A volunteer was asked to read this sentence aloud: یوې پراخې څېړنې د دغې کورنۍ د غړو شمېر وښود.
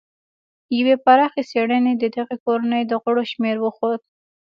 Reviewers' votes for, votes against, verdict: 2, 1, accepted